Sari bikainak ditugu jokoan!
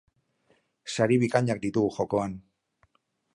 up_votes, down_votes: 4, 0